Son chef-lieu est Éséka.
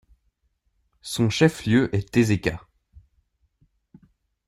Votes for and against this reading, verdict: 2, 0, accepted